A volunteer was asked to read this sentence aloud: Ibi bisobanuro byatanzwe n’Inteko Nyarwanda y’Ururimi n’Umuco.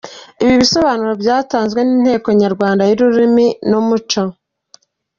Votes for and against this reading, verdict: 1, 2, rejected